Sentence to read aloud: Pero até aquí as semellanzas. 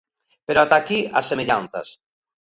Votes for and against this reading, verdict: 2, 0, accepted